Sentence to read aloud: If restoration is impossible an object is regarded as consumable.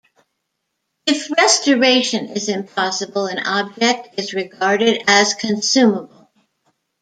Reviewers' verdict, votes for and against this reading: accepted, 2, 0